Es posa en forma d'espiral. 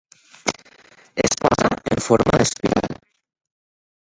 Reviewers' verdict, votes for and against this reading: rejected, 0, 4